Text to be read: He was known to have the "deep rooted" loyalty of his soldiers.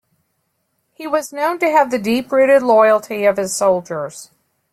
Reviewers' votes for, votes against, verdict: 2, 0, accepted